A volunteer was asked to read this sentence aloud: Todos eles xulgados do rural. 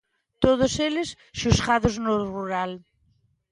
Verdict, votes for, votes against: rejected, 0, 2